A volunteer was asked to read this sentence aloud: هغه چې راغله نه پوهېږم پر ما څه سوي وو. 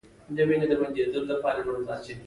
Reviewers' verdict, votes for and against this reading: rejected, 1, 2